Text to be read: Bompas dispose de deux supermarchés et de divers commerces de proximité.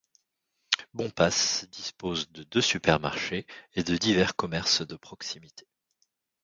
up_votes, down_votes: 2, 0